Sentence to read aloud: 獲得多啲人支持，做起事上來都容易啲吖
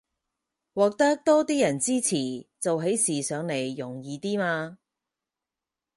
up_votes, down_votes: 0, 4